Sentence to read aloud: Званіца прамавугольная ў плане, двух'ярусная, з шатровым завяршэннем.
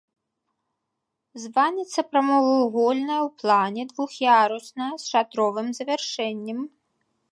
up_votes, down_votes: 3, 5